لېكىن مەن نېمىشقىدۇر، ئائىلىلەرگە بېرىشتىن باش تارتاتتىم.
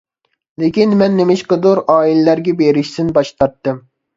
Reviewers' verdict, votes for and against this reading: rejected, 0, 2